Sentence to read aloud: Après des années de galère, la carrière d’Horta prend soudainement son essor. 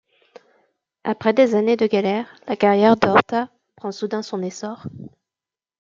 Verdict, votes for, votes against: rejected, 1, 2